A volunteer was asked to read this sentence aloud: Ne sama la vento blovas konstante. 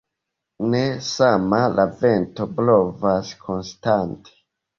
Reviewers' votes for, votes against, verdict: 1, 2, rejected